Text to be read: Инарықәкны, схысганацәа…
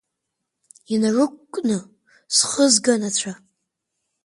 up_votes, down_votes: 2, 1